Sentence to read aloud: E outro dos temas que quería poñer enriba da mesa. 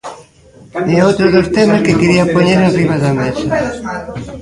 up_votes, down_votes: 1, 2